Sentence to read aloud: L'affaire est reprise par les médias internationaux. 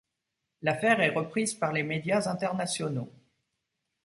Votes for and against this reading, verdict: 2, 0, accepted